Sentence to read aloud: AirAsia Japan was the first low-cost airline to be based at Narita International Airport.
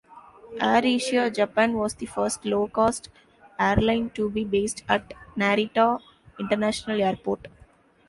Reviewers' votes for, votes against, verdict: 2, 1, accepted